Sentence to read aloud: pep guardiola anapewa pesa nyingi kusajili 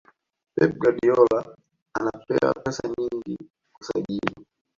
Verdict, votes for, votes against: rejected, 1, 2